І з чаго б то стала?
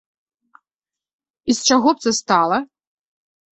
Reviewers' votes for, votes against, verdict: 1, 2, rejected